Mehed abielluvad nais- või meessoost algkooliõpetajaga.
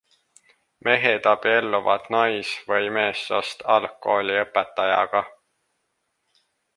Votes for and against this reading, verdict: 2, 0, accepted